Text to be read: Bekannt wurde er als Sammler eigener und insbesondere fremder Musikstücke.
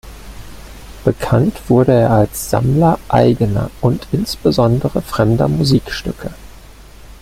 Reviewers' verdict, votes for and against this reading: accepted, 2, 0